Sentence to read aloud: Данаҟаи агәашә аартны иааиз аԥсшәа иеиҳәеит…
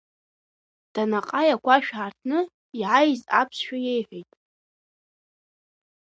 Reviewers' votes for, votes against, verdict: 2, 0, accepted